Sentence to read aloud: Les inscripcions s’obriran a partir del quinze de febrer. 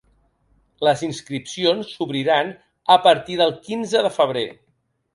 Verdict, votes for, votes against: accepted, 3, 0